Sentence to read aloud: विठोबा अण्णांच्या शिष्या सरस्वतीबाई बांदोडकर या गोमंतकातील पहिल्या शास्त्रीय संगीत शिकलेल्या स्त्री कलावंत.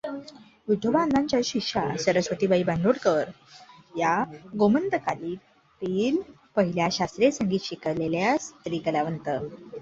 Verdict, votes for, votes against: rejected, 1, 2